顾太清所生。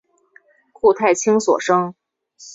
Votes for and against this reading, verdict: 6, 0, accepted